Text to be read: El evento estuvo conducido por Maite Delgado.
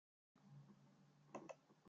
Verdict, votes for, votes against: rejected, 0, 2